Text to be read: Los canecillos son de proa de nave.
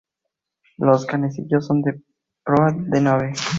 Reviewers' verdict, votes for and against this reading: accepted, 2, 0